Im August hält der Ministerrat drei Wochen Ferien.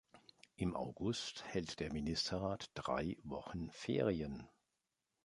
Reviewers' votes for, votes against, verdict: 3, 1, accepted